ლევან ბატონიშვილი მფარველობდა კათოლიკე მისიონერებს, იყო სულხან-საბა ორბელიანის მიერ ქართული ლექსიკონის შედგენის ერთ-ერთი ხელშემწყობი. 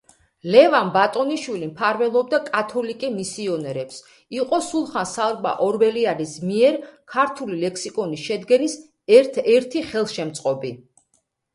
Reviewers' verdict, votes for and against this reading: accepted, 2, 0